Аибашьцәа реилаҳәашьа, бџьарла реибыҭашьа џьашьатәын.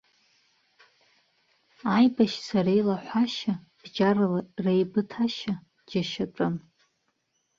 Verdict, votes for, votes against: rejected, 1, 2